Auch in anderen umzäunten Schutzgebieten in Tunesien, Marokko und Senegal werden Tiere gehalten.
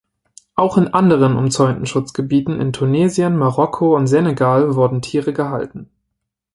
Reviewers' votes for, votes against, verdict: 1, 2, rejected